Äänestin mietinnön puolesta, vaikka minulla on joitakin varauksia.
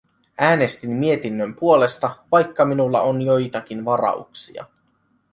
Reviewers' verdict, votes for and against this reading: accepted, 2, 0